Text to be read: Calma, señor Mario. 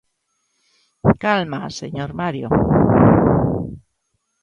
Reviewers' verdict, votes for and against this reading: accepted, 2, 1